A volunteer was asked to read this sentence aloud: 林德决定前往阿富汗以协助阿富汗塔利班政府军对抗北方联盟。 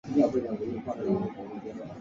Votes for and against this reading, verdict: 0, 3, rejected